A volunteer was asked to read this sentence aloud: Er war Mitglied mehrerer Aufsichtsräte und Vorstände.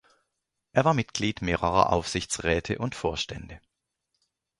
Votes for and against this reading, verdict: 2, 0, accepted